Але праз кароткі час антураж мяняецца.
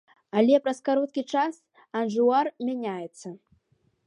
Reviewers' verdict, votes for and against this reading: rejected, 1, 2